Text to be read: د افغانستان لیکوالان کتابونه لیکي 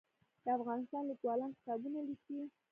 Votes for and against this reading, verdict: 2, 0, accepted